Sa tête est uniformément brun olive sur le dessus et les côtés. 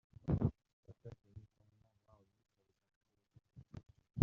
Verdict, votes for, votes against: rejected, 0, 2